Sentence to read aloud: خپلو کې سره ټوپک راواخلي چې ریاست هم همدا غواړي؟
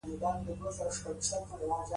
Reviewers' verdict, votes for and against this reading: rejected, 0, 2